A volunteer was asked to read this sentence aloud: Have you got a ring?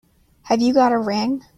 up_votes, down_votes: 2, 0